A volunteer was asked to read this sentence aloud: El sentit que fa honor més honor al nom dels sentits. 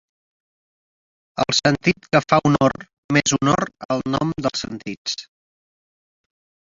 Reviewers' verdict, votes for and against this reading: accepted, 4, 0